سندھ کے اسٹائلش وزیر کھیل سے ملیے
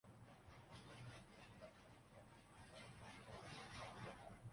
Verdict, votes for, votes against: rejected, 0, 3